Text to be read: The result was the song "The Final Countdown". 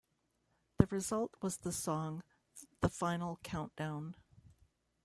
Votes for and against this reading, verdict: 0, 2, rejected